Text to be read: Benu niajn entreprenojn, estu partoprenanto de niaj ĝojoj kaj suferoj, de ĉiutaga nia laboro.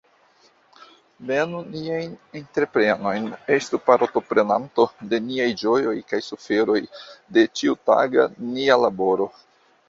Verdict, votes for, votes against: rejected, 0, 2